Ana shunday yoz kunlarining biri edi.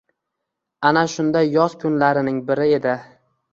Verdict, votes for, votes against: accepted, 2, 1